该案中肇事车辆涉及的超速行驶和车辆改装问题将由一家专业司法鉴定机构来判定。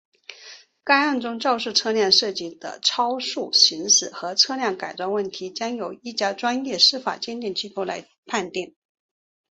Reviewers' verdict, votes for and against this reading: accepted, 3, 1